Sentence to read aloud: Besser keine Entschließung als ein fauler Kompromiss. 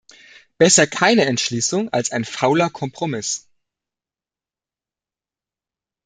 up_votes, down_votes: 2, 0